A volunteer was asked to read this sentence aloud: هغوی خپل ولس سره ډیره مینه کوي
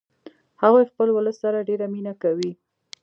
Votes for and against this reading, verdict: 1, 2, rejected